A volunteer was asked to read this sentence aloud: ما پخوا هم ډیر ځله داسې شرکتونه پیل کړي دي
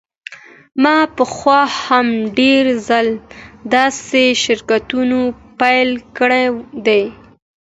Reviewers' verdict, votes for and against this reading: accepted, 2, 1